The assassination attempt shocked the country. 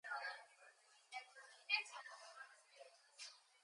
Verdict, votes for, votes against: rejected, 0, 4